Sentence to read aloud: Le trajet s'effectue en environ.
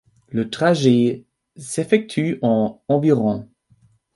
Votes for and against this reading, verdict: 2, 1, accepted